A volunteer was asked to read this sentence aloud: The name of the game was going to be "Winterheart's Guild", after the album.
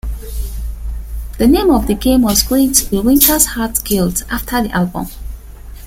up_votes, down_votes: 2, 0